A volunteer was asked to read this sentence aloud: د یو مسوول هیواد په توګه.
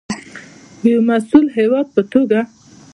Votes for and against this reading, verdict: 2, 0, accepted